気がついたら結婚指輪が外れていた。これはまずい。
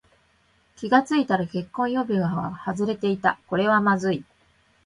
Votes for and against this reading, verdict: 2, 0, accepted